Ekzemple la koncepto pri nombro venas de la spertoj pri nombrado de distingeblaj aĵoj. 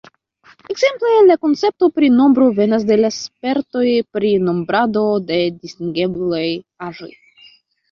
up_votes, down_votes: 0, 2